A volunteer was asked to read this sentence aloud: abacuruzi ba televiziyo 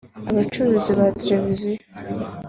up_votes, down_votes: 3, 1